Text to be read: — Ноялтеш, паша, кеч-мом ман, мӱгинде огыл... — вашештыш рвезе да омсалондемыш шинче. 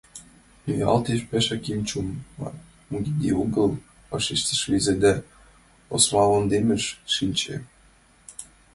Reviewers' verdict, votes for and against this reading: rejected, 0, 3